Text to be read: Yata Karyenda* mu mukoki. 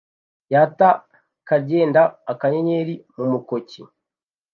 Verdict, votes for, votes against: rejected, 1, 2